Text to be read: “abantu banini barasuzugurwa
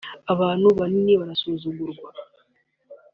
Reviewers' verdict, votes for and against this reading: accepted, 2, 0